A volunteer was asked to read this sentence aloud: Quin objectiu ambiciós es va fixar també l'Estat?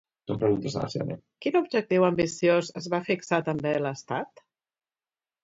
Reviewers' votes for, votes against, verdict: 0, 3, rejected